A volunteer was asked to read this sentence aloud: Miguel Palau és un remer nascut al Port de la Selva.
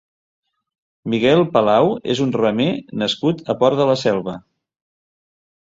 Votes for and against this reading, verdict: 0, 2, rejected